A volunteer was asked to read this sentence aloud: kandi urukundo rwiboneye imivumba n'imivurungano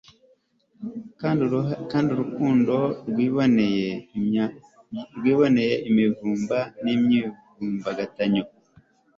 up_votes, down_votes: 2, 0